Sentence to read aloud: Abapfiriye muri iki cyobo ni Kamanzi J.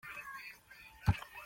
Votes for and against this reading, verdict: 0, 2, rejected